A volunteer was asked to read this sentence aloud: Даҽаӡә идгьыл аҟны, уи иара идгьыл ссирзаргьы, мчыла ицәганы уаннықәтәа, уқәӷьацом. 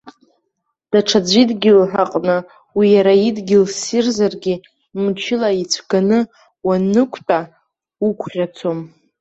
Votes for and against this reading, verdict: 2, 0, accepted